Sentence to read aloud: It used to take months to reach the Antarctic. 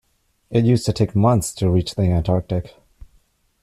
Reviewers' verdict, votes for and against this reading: accepted, 2, 0